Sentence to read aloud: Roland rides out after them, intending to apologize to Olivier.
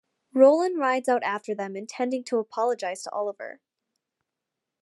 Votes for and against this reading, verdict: 2, 1, accepted